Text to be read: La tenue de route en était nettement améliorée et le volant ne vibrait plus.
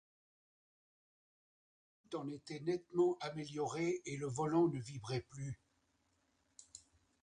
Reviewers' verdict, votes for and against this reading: rejected, 0, 2